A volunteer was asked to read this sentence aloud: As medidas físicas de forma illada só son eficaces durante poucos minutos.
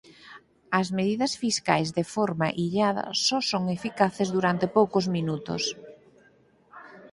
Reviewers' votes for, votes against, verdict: 0, 4, rejected